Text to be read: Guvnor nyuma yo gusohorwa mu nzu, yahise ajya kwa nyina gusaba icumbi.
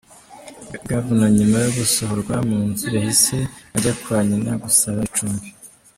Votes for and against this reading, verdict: 1, 2, rejected